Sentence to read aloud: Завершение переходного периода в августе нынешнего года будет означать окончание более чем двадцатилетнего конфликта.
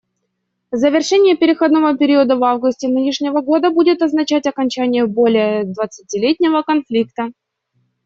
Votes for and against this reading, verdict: 1, 2, rejected